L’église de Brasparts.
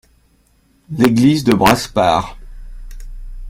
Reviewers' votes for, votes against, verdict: 2, 1, accepted